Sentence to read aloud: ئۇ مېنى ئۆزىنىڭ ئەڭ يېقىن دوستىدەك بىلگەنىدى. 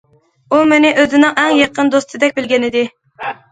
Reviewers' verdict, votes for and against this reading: accepted, 2, 0